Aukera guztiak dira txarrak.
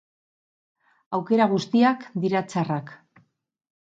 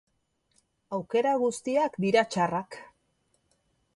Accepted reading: second